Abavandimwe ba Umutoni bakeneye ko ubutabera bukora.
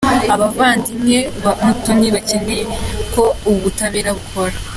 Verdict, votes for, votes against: accepted, 2, 0